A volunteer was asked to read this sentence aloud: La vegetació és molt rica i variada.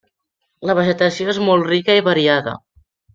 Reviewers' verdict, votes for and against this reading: accepted, 3, 0